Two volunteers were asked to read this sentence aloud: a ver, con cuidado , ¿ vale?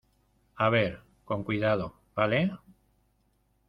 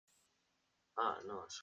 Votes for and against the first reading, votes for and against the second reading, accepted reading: 2, 0, 0, 2, first